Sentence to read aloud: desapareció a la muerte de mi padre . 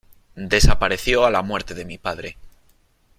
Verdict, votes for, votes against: accepted, 2, 0